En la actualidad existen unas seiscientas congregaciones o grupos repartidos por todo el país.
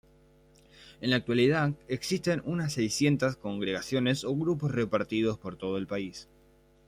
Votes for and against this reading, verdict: 2, 1, accepted